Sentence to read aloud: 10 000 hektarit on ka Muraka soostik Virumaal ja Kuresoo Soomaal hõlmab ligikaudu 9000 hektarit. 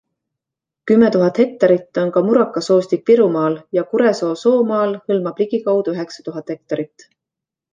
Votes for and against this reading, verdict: 0, 2, rejected